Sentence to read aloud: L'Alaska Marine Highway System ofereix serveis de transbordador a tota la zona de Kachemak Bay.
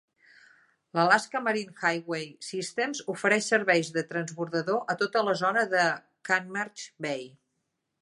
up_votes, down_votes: 1, 2